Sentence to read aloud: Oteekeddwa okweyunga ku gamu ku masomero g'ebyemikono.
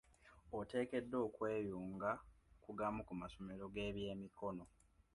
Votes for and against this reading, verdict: 2, 0, accepted